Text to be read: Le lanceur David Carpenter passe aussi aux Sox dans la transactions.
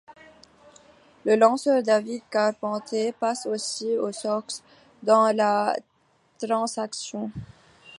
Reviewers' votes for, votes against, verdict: 2, 1, accepted